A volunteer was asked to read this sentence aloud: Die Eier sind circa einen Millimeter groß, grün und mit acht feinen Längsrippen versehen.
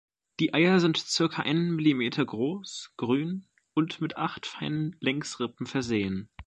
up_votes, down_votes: 2, 0